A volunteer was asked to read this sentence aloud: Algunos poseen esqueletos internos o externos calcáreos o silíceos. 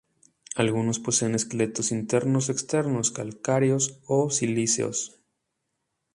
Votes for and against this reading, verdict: 2, 0, accepted